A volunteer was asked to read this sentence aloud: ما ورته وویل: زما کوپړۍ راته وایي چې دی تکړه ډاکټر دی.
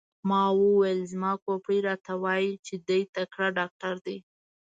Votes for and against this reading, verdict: 0, 2, rejected